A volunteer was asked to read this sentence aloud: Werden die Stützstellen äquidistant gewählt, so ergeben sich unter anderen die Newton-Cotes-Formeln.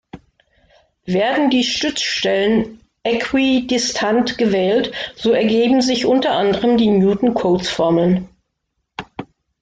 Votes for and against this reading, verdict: 2, 0, accepted